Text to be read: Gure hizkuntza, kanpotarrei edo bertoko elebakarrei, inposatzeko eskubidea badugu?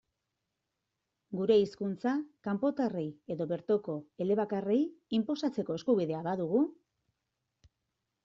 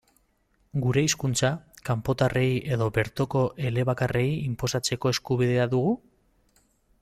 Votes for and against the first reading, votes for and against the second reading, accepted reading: 2, 1, 0, 2, first